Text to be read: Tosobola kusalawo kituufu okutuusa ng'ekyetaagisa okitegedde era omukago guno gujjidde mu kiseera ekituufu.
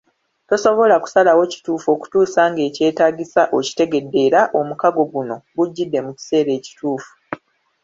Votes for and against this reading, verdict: 2, 0, accepted